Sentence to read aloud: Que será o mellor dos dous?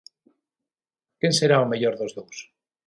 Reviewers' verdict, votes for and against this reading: rejected, 3, 6